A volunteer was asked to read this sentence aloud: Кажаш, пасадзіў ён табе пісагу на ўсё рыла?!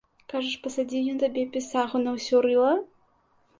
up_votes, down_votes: 2, 0